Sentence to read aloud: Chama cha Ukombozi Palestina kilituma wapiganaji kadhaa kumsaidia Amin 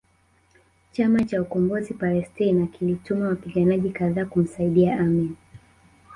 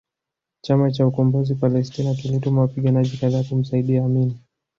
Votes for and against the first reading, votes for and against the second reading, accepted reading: 1, 2, 2, 1, second